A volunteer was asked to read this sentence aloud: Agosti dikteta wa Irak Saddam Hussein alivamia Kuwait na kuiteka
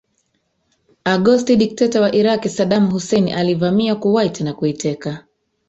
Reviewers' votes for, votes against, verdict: 1, 2, rejected